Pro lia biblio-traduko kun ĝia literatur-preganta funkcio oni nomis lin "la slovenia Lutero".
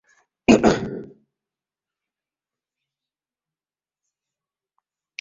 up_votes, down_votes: 0, 3